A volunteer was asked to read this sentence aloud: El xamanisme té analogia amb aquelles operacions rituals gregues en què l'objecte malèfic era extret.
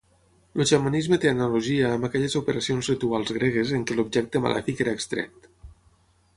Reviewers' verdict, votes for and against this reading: rejected, 3, 6